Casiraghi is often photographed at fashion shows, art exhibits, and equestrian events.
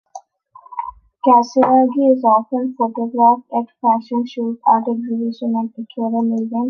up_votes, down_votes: 0, 2